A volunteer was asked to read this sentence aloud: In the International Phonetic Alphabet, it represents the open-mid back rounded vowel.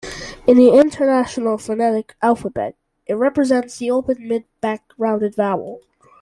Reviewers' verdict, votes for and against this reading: accepted, 2, 1